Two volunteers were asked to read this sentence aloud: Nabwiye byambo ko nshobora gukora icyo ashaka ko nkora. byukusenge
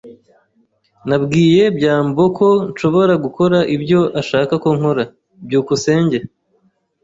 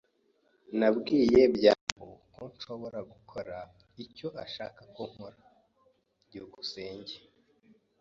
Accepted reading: second